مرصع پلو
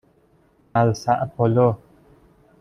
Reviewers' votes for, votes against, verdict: 0, 2, rejected